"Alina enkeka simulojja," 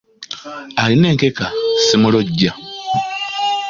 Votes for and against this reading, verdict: 2, 0, accepted